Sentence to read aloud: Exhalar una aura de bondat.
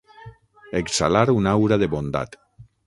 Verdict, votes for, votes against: accepted, 6, 0